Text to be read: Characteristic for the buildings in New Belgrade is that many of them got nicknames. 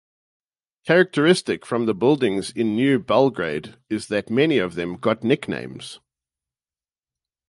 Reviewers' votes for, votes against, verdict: 0, 4, rejected